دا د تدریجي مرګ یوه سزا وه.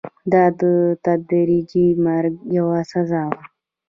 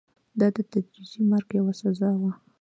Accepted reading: second